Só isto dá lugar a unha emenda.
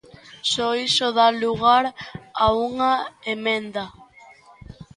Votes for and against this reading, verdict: 1, 2, rejected